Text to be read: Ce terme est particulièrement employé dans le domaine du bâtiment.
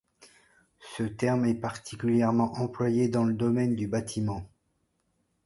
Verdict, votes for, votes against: accepted, 2, 0